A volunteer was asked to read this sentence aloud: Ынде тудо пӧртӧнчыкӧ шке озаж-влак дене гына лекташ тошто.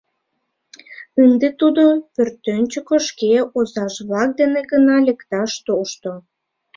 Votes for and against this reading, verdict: 2, 0, accepted